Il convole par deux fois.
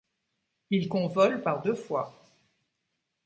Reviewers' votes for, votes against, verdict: 2, 1, accepted